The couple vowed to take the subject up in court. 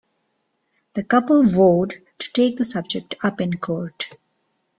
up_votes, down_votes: 2, 1